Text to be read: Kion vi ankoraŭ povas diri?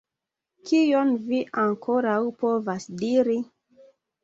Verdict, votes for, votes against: accepted, 2, 1